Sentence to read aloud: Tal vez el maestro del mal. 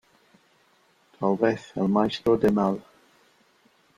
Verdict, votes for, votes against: rejected, 0, 2